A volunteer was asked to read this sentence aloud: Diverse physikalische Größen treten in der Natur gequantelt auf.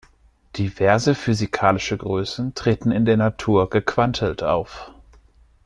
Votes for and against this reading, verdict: 2, 0, accepted